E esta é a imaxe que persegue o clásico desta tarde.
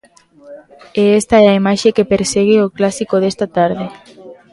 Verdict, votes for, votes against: rejected, 1, 2